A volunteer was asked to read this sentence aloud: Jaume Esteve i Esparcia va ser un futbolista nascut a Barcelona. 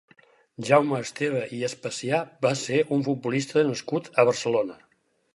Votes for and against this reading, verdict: 0, 6, rejected